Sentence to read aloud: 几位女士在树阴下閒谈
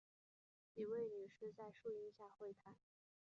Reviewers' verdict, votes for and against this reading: rejected, 0, 3